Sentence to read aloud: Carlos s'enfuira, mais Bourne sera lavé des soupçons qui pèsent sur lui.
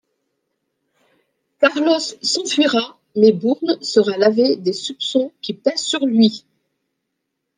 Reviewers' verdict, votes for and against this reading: rejected, 0, 2